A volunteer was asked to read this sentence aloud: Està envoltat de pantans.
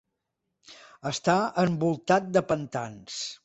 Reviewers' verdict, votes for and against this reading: accepted, 2, 0